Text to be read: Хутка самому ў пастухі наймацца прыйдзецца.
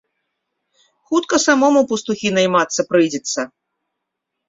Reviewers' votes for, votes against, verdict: 2, 0, accepted